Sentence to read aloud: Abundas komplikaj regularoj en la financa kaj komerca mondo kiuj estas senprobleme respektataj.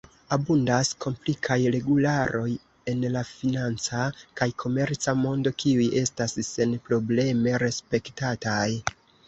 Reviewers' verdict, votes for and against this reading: accepted, 2, 0